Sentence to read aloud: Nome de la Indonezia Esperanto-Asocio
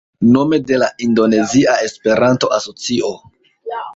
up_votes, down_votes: 1, 2